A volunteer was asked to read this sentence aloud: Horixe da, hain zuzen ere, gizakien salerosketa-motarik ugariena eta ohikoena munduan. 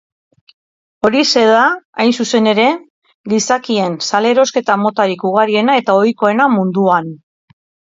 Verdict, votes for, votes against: accepted, 3, 0